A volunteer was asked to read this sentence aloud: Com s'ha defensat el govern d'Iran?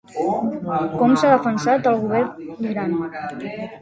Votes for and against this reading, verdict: 1, 2, rejected